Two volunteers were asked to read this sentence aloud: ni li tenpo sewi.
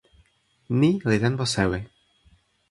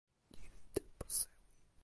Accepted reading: first